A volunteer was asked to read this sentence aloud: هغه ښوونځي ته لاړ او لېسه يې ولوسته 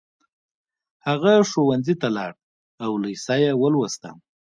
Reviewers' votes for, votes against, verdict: 2, 0, accepted